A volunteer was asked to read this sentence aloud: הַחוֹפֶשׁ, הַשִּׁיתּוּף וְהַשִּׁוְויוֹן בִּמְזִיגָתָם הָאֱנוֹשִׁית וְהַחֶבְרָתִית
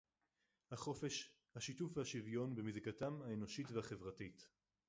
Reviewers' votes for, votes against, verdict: 2, 2, rejected